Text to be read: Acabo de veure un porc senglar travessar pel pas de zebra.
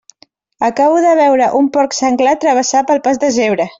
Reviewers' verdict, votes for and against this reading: accepted, 2, 0